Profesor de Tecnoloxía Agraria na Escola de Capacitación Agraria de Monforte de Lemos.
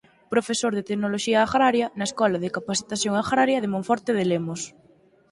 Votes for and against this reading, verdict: 4, 0, accepted